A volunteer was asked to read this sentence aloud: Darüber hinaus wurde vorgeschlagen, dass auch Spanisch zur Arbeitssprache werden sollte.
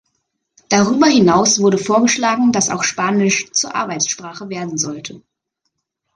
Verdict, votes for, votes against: accepted, 2, 0